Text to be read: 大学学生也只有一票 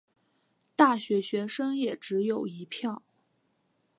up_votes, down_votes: 2, 0